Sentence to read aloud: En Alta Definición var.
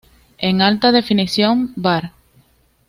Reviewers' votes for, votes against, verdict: 2, 0, accepted